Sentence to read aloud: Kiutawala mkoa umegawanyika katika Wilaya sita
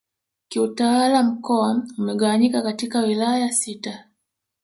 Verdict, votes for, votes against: rejected, 1, 2